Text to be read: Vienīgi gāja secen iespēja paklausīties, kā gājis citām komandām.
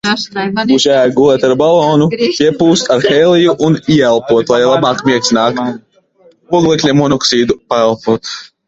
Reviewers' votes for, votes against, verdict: 0, 2, rejected